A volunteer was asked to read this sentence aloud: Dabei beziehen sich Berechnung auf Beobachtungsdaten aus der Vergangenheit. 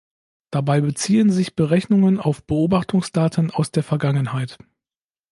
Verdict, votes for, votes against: rejected, 0, 2